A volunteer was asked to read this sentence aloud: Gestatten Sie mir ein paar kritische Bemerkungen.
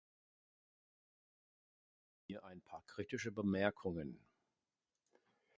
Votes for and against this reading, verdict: 0, 2, rejected